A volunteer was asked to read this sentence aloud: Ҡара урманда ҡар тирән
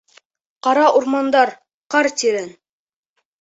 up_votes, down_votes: 2, 3